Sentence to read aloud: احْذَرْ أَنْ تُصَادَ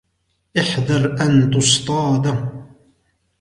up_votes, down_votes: 1, 2